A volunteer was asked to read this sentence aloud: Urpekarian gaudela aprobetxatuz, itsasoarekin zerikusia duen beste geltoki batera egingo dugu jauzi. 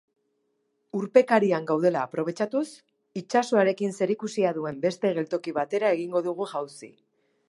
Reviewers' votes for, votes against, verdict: 2, 0, accepted